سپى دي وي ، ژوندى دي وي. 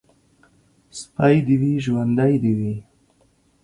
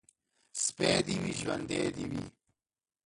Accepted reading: first